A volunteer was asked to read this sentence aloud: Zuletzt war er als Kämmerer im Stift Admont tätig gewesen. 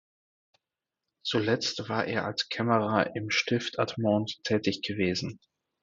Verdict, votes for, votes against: accepted, 4, 0